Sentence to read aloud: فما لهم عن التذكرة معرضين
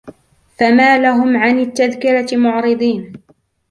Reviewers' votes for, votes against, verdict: 2, 1, accepted